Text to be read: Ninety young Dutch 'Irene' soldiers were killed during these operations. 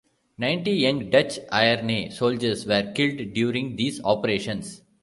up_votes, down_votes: 0, 2